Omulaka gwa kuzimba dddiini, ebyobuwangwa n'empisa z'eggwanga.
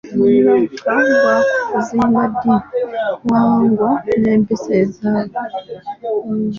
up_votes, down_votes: 2, 0